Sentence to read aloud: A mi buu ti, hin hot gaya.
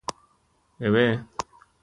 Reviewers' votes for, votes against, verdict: 0, 2, rejected